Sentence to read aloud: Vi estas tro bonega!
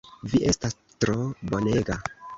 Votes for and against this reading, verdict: 2, 3, rejected